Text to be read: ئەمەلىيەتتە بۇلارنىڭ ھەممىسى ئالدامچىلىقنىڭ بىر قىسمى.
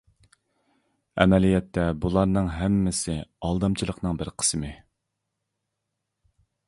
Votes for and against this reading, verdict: 2, 0, accepted